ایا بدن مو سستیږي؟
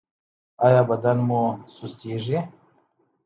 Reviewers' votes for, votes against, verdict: 2, 1, accepted